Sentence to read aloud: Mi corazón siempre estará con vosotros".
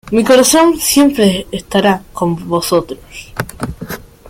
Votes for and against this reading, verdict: 2, 0, accepted